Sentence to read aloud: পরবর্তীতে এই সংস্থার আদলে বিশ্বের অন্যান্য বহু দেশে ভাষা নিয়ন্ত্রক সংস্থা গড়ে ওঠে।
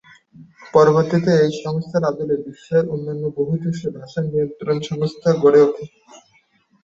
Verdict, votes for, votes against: accepted, 3, 1